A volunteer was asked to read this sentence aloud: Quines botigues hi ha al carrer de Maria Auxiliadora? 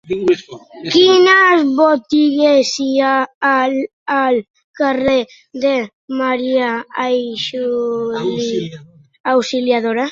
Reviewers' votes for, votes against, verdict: 0, 2, rejected